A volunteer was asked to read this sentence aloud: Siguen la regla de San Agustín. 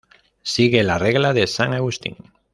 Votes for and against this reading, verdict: 0, 2, rejected